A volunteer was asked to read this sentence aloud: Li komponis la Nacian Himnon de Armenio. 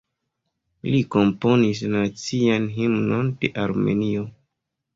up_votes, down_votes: 2, 0